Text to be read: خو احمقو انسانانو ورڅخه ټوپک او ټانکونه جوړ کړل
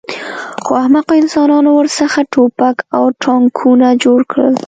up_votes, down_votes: 2, 0